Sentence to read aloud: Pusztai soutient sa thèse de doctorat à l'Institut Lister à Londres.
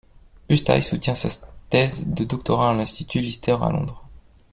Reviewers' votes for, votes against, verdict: 1, 2, rejected